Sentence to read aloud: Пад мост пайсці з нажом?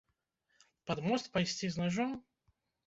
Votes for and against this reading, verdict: 2, 0, accepted